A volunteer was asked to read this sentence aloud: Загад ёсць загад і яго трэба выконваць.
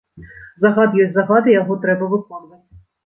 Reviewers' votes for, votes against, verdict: 0, 2, rejected